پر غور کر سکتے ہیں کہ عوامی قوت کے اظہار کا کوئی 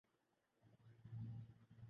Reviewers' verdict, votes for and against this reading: rejected, 0, 2